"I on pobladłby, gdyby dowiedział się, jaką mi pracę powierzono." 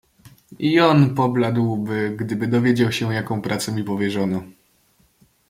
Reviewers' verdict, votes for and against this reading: rejected, 0, 2